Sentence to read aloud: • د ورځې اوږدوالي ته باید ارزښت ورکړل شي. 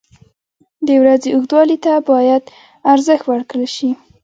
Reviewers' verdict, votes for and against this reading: accepted, 2, 0